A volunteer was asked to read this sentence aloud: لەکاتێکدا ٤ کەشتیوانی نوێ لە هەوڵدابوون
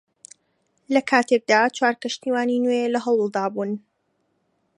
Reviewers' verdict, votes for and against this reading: rejected, 0, 2